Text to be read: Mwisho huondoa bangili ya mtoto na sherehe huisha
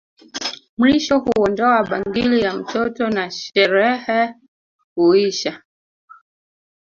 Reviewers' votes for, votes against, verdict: 1, 2, rejected